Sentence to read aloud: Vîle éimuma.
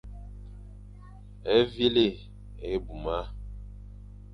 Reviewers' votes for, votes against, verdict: 2, 0, accepted